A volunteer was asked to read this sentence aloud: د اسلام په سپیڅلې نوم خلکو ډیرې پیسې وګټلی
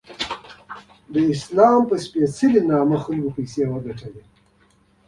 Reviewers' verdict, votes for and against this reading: rejected, 1, 2